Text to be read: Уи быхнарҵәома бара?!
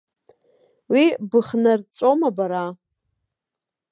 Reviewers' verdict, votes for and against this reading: accepted, 2, 0